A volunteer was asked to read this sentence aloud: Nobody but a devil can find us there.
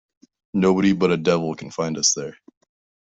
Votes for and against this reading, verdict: 2, 0, accepted